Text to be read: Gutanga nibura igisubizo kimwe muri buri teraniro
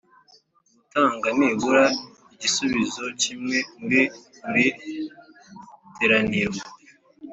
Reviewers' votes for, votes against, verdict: 1, 2, rejected